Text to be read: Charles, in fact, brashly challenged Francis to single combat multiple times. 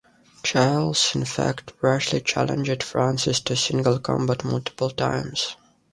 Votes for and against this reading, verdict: 2, 0, accepted